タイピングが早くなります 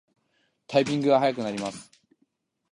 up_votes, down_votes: 2, 0